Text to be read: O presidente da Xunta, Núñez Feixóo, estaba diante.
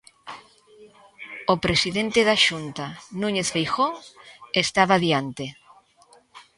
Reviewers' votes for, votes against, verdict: 0, 2, rejected